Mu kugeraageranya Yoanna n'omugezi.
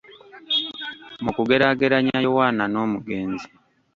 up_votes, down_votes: 1, 2